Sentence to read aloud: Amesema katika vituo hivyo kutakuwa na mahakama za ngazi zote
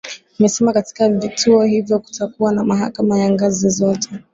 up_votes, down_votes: 2, 1